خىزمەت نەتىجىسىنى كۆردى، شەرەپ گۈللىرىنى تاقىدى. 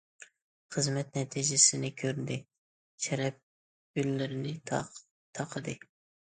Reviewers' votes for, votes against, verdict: 1, 2, rejected